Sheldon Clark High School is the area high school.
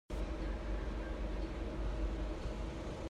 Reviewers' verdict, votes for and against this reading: rejected, 0, 2